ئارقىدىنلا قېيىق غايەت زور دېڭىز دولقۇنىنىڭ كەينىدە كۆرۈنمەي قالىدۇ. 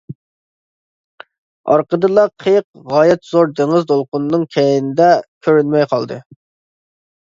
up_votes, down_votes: 0, 2